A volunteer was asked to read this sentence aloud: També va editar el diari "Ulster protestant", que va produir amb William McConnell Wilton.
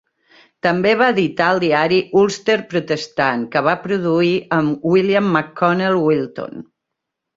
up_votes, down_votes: 3, 0